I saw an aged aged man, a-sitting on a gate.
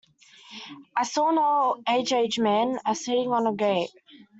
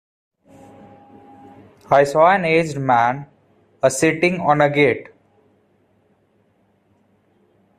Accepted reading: first